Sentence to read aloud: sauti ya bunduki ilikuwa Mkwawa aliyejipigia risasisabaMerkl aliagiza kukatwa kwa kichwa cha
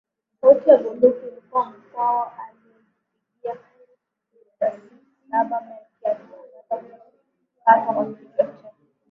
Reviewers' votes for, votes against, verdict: 0, 4, rejected